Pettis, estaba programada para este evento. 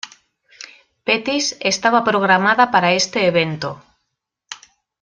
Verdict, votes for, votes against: accepted, 2, 0